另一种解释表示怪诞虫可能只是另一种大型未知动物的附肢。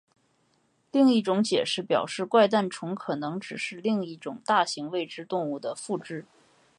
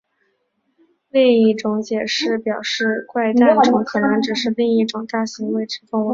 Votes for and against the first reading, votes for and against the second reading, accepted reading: 2, 0, 0, 2, first